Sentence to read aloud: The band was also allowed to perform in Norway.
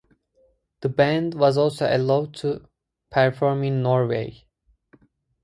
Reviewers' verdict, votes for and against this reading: rejected, 0, 2